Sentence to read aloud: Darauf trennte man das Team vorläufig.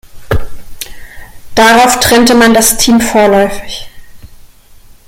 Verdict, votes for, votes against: accepted, 2, 0